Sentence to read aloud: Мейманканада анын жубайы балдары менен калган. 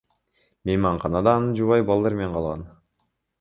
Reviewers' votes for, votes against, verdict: 0, 2, rejected